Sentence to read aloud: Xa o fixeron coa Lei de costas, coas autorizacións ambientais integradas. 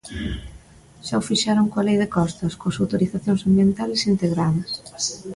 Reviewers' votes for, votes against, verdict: 0, 2, rejected